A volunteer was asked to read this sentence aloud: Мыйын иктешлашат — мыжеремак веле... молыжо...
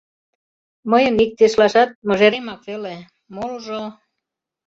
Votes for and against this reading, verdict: 2, 0, accepted